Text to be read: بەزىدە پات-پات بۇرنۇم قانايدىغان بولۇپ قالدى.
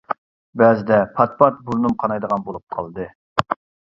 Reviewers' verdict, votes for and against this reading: accepted, 2, 0